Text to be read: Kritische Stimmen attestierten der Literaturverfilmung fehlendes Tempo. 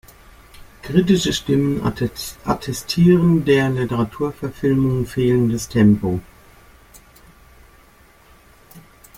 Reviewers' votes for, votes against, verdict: 0, 2, rejected